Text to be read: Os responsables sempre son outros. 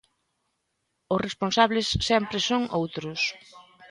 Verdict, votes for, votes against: accepted, 2, 0